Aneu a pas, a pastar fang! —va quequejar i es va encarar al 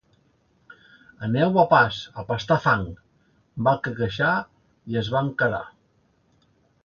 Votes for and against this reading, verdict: 0, 2, rejected